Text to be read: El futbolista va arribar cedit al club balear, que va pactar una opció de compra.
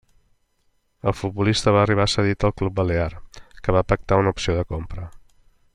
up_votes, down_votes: 2, 0